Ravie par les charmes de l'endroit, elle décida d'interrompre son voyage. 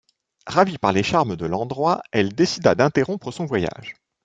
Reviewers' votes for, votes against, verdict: 3, 0, accepted